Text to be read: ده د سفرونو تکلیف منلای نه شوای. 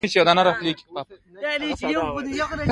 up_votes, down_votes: 2, 1